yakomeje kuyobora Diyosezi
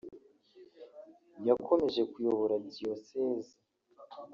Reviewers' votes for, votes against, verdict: 3, 0, accepted